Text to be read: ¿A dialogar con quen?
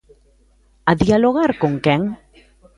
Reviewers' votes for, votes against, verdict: 2, 0, accepted